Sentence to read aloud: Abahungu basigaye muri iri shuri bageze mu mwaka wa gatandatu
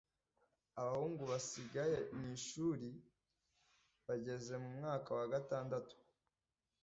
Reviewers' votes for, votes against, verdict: 1, 2, rejected